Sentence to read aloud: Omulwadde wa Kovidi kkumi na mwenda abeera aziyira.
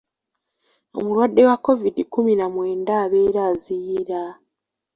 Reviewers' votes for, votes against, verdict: 2, 0, accepted